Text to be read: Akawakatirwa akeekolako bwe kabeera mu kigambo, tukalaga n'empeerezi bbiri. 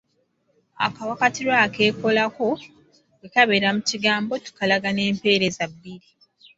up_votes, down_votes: 2, 0